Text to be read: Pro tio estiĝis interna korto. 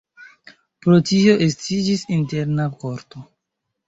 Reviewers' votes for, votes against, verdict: 2, 1, accepted